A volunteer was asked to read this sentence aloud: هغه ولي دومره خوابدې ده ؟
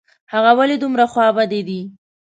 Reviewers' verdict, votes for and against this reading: accepted, 2, 0